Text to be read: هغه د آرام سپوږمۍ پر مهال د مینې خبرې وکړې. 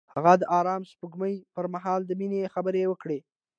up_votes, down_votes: 2, 0